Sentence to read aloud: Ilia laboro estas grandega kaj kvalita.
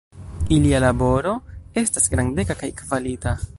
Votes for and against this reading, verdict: 2, 0, accepted